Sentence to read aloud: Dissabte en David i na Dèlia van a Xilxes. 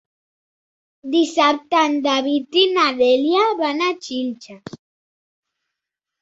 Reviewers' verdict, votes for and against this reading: accepted, 4, 0